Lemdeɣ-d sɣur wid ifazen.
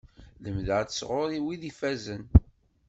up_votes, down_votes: 2, 0